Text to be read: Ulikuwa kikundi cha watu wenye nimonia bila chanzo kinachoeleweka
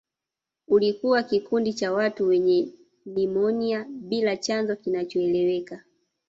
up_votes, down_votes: 2, 0